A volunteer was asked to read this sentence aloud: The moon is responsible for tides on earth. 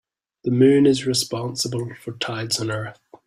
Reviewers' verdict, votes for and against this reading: accepted, 3, 0